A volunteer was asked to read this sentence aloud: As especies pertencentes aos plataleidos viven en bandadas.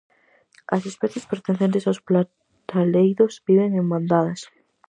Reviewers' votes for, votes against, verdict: 0, 4, rejected